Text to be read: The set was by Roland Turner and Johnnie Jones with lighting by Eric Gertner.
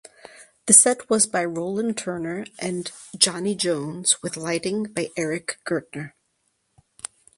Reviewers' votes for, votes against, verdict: 4, 0, accepted